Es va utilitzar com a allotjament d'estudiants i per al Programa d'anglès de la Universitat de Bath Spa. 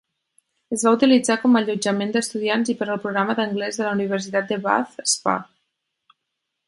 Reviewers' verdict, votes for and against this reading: accepted, 4, 0